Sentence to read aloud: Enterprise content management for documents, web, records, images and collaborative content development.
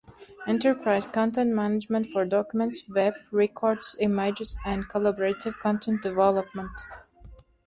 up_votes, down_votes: 2, 0